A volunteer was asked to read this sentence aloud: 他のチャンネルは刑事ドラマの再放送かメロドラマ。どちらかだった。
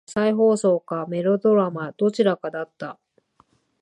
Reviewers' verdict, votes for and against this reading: rejected, 0, 2